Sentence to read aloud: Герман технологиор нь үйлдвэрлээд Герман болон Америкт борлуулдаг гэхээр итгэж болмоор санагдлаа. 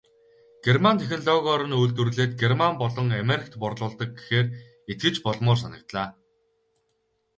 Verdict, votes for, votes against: rejected, 0, 2